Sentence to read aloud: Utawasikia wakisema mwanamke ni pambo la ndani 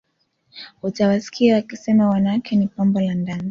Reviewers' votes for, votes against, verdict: 2, 1, accepted